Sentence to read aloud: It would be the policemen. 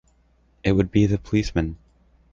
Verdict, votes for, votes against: accepted, 2, 1